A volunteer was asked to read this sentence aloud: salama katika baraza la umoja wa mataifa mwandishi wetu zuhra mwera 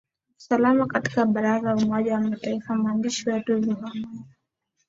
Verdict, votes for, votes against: accepted, 2, 0